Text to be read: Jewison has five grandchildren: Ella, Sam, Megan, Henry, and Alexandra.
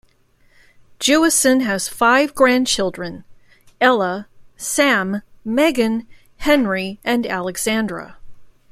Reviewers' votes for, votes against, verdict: 2, 0, accepted